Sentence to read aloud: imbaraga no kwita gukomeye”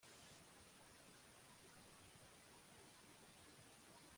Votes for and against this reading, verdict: 0, 2, rejected